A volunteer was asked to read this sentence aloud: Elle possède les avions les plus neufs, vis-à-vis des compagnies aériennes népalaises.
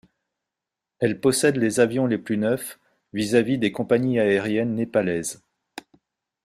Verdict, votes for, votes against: accepted, 3, 0